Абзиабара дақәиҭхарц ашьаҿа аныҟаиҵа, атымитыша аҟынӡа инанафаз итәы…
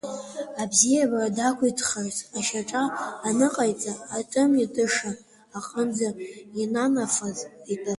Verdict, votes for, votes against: rejected, 0, 2